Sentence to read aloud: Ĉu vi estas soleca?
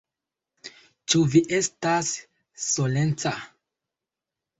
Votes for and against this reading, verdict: 0, 2, rejected